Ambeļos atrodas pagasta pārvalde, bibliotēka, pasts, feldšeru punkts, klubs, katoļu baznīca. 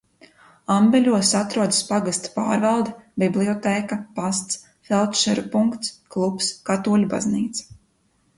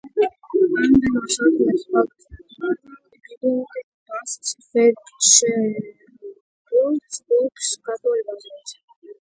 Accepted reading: first